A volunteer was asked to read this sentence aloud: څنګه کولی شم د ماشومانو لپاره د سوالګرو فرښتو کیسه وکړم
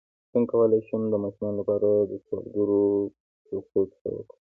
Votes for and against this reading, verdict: 2, 1, accepted